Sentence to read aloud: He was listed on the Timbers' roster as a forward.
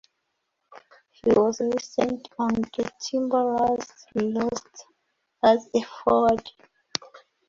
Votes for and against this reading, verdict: 1, 2, rejected